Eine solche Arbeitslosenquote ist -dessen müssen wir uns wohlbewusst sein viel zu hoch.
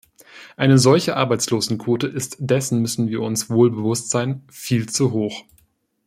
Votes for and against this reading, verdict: 2, 0, accepted